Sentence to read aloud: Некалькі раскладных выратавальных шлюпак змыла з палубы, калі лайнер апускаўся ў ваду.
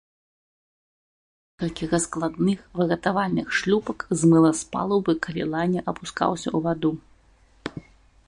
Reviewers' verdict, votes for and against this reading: rejected, 0, 2